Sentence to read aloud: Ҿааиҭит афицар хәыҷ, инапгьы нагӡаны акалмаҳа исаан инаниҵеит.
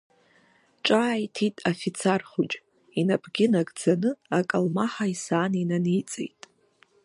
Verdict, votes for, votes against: rejected, 0, 2